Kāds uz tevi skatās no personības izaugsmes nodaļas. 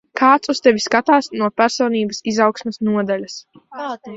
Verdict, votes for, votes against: rejected, 0, 2